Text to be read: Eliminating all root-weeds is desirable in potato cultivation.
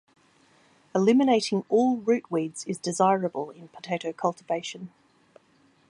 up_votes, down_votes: 2, 0